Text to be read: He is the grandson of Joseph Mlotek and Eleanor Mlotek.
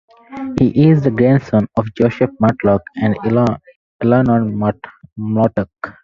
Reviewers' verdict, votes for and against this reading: rejected, 2, 4